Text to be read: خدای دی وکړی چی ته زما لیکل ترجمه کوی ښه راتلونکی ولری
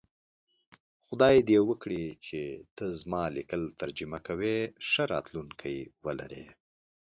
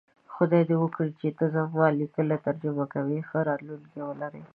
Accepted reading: first